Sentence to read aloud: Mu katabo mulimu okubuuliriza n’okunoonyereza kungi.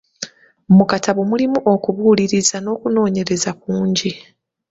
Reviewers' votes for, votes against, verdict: 1, 2, rejected